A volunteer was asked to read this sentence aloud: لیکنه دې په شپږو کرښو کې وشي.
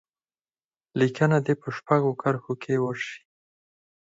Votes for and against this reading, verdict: 2, 4, rejected